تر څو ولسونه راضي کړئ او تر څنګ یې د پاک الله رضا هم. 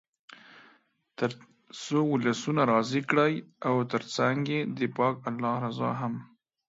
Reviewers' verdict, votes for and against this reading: accepted, 2, 0